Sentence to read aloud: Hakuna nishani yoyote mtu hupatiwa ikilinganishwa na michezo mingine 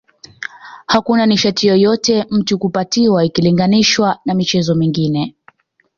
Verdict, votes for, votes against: rejected, 0, 2